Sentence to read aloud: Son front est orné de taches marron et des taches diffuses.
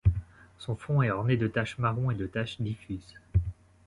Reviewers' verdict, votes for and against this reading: rejected, 0, 2